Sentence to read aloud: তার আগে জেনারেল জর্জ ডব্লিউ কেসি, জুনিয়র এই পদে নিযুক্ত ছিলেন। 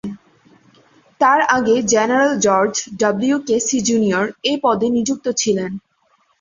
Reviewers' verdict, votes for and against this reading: accepted, 2, 0